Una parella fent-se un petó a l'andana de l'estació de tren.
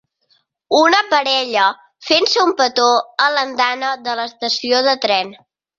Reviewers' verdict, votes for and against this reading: accepted, 4, 0